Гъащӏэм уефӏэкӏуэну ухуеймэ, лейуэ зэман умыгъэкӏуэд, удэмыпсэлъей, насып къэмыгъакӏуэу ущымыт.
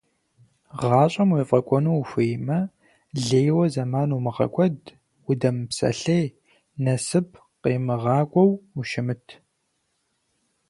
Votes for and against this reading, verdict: 0, 4, rejected